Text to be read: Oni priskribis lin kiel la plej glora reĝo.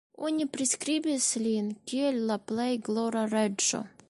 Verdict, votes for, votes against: accepted, 3, 1